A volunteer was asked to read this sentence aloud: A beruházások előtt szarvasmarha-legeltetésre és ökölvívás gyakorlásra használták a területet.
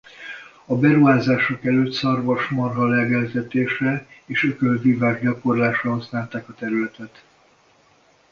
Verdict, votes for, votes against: accepted, 2, 0